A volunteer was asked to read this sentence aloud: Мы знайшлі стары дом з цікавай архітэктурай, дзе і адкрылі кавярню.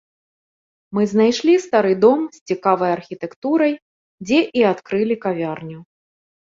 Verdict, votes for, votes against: accepted, 2, 0